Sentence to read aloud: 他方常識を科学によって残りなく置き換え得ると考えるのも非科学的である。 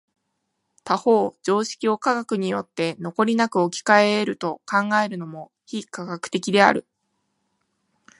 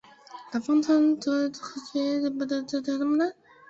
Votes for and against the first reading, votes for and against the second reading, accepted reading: 5, 0, 0, 2, first